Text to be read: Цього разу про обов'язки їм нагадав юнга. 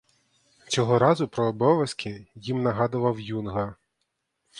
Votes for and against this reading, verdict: 0, 2, rejected